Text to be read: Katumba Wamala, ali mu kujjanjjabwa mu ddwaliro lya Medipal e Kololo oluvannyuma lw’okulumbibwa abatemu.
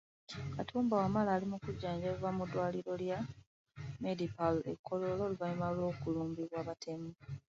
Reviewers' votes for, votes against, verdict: 2, 1, accepted